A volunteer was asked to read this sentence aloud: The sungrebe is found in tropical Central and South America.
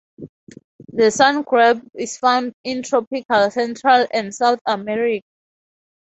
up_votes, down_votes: 0, 4